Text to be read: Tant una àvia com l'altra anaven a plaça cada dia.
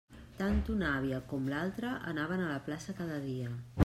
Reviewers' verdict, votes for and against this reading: rejected, 0, 2